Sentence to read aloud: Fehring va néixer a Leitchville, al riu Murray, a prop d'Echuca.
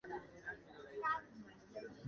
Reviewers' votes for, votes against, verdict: 0, 2, rejected